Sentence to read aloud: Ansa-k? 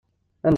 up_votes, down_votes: 1, 7